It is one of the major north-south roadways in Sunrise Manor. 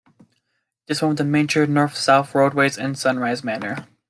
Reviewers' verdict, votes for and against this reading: accepted, 2, 1